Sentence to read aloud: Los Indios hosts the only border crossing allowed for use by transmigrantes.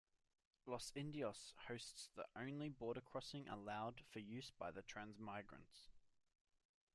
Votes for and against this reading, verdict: 0, 2, rejected